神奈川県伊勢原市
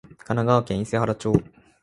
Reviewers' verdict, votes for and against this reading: rejected, 0, 2